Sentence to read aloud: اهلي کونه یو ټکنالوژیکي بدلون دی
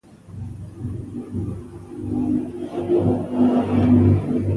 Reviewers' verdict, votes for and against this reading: rejected, 0, 2